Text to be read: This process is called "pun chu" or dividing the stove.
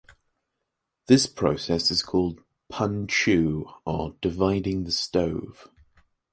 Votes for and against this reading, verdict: 2, 0, accepted